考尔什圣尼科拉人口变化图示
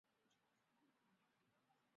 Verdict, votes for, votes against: rejected, 1, 3